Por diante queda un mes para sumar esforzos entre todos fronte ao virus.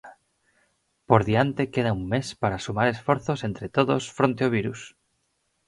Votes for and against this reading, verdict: 4, 0, accepted